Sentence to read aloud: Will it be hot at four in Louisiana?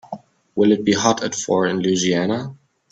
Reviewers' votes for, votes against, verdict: 2, 0, accepted